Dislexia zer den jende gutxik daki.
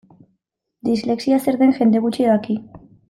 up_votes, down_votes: 2, 1